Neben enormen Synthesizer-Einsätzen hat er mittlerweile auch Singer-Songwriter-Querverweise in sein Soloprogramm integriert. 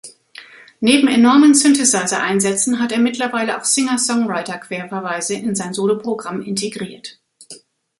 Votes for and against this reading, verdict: 0, 2, rejected